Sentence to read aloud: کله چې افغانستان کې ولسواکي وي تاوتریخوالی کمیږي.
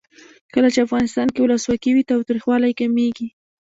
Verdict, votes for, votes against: rejected, 1, 2